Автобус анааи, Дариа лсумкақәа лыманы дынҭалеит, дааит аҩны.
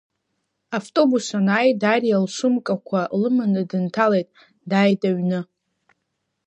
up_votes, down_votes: 2, 0